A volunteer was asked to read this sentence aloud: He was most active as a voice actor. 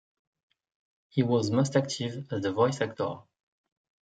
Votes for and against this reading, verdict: 2, 0, accepted